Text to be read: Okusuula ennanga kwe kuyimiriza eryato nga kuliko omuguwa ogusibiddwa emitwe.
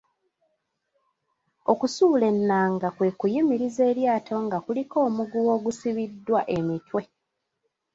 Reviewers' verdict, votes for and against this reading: accepted, 2, 1